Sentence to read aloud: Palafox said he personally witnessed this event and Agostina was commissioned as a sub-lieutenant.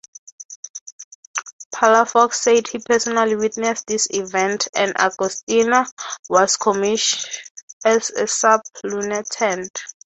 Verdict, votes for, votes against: rejected, 3, 3